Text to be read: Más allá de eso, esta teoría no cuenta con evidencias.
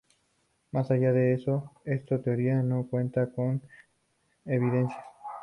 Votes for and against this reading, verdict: 2, 0, accepted